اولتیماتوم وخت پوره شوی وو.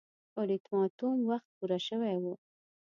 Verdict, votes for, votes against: accepted, 2, 0